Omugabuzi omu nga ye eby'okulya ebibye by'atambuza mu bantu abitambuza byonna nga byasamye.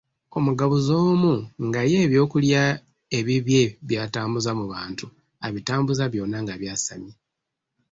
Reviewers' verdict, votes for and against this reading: accepted, 2, 0